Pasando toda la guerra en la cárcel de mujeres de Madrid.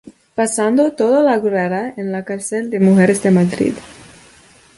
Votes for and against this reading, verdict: 0, 2, rejected